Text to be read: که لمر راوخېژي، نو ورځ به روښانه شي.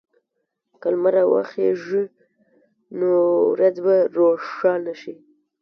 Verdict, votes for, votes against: rejected, 1, 2